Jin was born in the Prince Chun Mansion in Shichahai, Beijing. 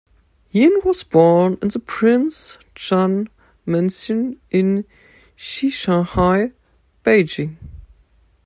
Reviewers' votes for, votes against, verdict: 2, 0, accepted